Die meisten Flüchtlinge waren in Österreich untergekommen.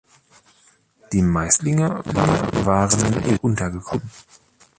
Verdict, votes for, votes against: rejected, 0, 2